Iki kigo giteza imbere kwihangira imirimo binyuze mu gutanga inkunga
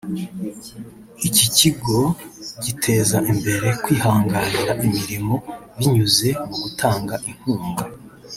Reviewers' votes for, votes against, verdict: 1, 2, rejected